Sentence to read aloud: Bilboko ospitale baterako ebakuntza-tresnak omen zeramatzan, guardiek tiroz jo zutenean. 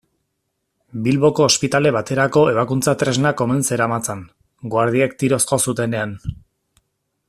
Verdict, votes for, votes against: accepted, 2, 0